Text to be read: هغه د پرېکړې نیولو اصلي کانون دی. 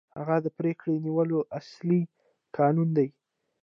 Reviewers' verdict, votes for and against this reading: accepted, 2, 1